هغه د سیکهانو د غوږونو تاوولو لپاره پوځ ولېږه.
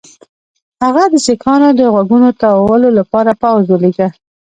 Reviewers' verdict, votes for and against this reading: rejected, 1, 2